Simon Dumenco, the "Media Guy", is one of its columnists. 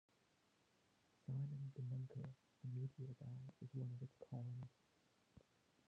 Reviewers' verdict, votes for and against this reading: rejected, 0, 2